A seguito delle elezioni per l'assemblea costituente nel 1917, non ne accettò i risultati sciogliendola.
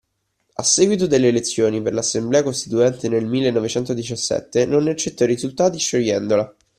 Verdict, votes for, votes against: rejected, 0, 2